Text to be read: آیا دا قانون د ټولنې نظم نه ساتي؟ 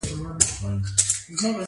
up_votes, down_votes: 2, 1